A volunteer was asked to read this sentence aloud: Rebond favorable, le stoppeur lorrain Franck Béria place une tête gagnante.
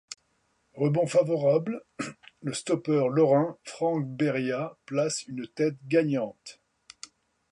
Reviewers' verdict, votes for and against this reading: accepted, 2, 0